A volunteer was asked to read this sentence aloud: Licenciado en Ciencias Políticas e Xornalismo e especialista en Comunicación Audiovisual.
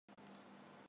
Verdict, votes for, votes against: rejected, 0, 2